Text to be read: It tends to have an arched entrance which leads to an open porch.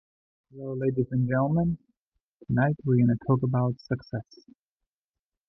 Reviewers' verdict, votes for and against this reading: rejected, 1, 2